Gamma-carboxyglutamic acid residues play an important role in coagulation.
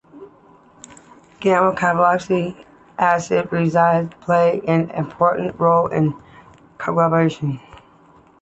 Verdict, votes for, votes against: rejected, 1, 2